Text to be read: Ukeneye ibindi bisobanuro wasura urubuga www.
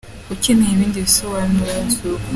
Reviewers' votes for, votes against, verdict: 0, 2, rejected